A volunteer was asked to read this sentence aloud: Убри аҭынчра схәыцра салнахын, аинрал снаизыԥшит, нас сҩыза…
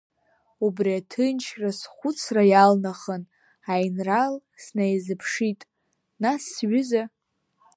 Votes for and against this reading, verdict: 1, 2, rejected